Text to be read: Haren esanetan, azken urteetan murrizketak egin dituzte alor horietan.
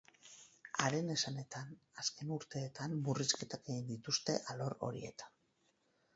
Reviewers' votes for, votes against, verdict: 10, 2, accepted